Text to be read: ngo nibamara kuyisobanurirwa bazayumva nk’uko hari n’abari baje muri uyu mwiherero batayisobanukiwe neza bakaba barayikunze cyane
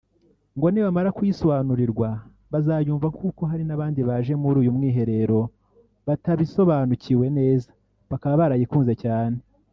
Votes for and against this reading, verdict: 1, 2, rejected